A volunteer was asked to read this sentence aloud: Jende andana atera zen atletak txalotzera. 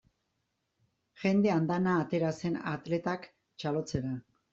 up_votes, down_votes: 2, 0